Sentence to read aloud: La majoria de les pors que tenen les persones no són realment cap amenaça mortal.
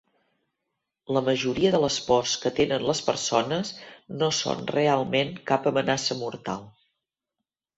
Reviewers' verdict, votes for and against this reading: accepted, 2, 0